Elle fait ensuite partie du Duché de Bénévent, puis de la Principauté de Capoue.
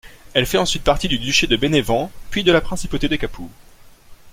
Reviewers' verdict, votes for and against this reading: accepted, 2, 0